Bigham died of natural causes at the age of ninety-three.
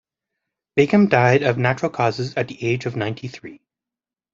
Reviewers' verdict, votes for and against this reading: accepted, 2, 1